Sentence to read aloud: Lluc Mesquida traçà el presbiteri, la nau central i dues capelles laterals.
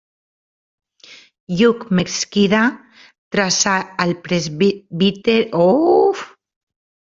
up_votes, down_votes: 0, 2